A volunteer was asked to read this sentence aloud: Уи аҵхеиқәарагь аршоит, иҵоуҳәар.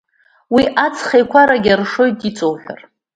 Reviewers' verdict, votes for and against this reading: accepted, 2, 1